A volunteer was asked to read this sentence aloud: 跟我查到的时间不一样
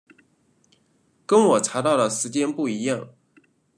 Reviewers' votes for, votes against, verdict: 2, 0, accepted